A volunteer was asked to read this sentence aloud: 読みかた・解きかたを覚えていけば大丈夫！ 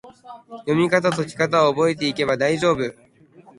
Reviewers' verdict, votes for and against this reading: rejected, 0, 3